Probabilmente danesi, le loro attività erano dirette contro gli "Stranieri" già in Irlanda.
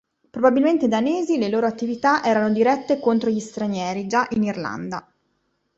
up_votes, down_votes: 2, 0